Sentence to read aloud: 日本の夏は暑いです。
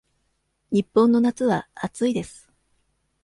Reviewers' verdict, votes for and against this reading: accepted, 2, 0